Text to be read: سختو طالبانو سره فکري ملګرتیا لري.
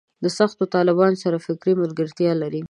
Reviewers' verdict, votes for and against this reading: rejected, 0, 2